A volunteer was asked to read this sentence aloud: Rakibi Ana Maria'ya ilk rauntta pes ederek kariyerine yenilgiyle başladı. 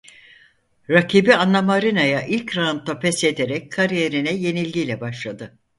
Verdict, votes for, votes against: rejected, 2, 4